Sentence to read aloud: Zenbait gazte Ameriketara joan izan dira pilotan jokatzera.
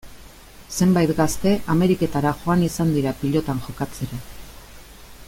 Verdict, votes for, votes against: accepted, 2, 0